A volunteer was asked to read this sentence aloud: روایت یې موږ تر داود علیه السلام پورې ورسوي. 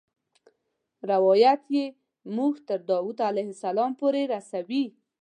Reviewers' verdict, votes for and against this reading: rejected, 0, 2